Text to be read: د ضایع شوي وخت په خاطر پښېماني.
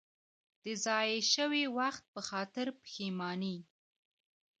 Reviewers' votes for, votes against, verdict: 2, 1, accepted